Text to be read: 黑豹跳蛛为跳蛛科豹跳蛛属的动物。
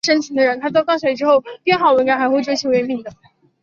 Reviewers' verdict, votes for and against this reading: rejected, 0, 4